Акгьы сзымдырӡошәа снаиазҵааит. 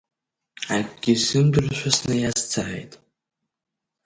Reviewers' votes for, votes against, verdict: 1, 3, rejected